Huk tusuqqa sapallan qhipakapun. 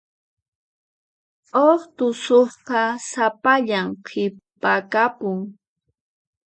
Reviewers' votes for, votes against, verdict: 4, 0, accepted